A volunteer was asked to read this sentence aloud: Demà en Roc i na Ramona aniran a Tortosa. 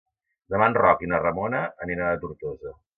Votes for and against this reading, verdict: 2, 0, accepted